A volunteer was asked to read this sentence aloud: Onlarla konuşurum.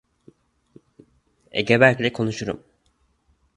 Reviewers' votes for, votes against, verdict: 0, 2, rejected